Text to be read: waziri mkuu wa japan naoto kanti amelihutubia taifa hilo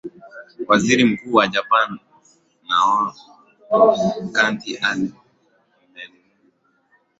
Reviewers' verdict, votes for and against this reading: rejected, 4, 5